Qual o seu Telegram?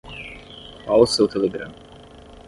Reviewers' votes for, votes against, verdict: 5, 5, rejected